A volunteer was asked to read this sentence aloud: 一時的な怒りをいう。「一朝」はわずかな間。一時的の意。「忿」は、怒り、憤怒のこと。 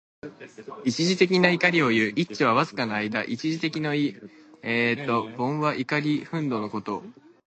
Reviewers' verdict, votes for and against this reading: rejected, 1, 2